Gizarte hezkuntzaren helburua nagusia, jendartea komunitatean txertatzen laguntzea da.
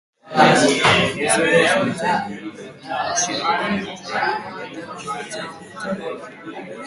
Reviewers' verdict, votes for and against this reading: rejected, 0, 2